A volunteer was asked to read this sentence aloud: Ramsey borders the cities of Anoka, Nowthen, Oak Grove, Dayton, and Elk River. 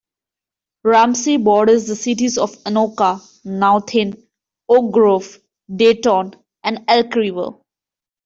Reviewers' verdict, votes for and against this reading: accepted, 2, 0